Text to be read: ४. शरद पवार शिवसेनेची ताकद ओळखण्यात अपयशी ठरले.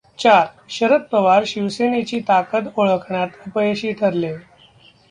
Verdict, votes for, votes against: rejected, 0, 2